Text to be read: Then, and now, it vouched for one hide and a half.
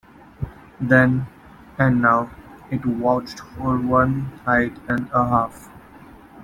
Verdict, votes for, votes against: rejected, 1, 2